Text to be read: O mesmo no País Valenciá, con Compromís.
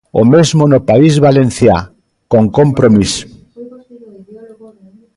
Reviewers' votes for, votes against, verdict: 1, 2, rejected